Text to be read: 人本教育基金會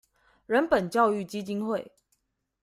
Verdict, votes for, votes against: accepted, 2, 0